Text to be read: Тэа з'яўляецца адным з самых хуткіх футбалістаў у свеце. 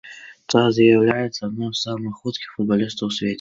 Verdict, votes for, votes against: accepted, 2, 1